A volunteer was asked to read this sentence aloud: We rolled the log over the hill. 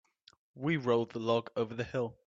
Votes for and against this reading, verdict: 2, 0, accepted